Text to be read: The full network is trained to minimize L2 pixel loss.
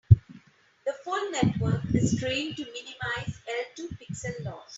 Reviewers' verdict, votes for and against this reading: rejected, 0, 2